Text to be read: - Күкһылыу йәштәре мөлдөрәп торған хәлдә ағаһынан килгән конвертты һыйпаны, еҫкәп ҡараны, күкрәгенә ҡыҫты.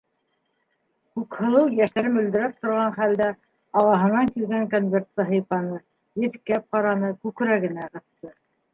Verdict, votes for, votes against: rejected, 0, 2